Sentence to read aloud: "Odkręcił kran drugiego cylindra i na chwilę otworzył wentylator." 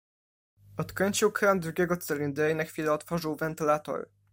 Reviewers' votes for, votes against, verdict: 1, 2, rejected